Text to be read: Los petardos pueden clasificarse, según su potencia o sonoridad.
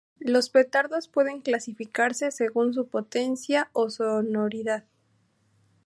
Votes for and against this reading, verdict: 2, 0, accepted